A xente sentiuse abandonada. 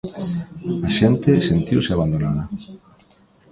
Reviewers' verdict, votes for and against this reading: accepted, 2, 1